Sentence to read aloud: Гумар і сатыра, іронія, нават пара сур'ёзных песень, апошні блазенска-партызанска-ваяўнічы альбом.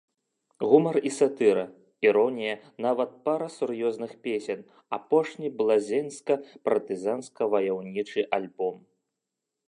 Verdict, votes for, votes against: rejected, 0, 2